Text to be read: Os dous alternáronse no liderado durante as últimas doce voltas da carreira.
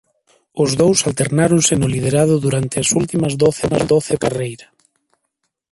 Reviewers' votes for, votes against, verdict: 0, 2, rejected